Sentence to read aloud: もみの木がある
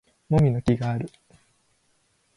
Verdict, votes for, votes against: accepted, 2, 0